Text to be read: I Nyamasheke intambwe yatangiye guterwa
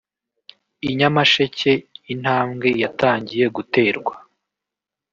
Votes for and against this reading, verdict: 1, 2, rejected